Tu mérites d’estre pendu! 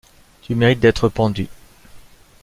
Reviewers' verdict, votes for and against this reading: accepted, 2, 0